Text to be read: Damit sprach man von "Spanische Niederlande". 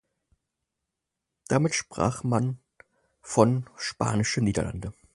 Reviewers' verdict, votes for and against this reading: accepted, 4, 0